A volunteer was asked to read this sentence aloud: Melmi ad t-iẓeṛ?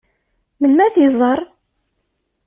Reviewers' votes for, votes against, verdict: 2, 0, accepted